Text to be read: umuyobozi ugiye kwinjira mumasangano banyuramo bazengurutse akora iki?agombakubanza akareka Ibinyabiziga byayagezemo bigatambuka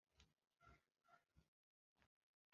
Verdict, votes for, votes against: rejected, 0, 2